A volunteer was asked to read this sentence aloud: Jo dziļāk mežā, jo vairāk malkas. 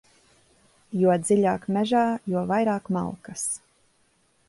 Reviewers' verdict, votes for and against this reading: accepted, 2, 0